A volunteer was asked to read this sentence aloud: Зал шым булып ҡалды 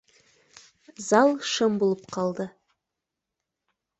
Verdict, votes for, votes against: accepted, 2, 0